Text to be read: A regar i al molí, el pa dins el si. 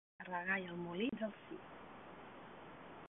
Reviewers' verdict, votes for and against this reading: rejected, 0, 2